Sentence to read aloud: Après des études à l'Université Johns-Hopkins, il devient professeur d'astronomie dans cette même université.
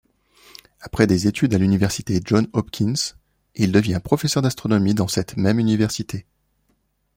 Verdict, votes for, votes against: accepted, 2, 0